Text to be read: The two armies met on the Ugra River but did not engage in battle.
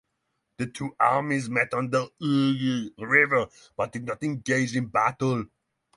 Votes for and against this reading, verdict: 0, 6, rejected